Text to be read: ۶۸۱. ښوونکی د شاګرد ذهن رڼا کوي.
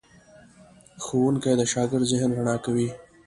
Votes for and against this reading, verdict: 0, 2, rejected